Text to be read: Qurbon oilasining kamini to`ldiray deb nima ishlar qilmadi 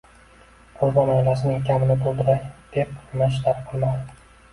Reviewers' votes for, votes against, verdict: 1, 2, rejected